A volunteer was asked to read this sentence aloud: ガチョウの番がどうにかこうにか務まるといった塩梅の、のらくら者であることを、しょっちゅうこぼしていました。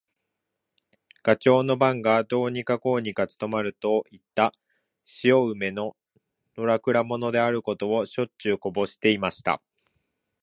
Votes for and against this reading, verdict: 1, 2, rejected